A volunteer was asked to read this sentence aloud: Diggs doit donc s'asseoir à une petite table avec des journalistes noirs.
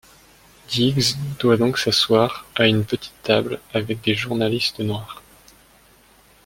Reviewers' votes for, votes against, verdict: 2, 0, accepted